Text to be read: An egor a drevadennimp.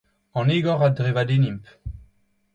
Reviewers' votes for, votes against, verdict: 2, 0, accepted